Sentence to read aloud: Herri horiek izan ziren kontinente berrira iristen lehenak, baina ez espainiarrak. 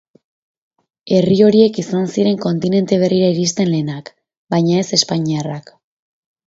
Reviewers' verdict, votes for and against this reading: accepted, 2, 0